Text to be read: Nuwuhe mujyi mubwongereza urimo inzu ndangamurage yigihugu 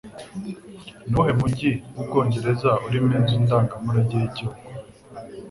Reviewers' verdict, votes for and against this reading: accepted, 2, 0